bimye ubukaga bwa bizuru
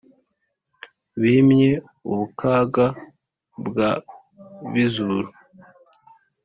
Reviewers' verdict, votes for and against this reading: accepted, 2, 0